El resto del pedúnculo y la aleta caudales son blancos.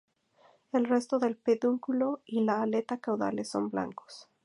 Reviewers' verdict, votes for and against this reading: accepted, 2, 0